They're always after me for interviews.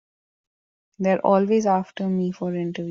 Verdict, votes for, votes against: rejected, 0, 2